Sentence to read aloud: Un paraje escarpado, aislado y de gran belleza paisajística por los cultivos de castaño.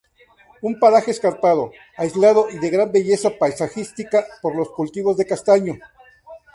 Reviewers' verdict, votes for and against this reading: accepted, 4, 0